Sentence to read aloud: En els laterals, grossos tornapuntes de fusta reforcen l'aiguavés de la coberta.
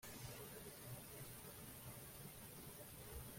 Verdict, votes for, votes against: rejected, 1, 13